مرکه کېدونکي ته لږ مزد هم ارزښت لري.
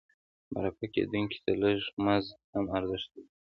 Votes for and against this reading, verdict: 1, 2, rejected